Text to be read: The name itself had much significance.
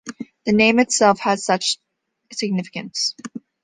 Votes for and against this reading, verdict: 2, 1, accepted